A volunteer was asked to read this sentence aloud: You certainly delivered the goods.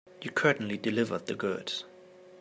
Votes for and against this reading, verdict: 0, 2, rejected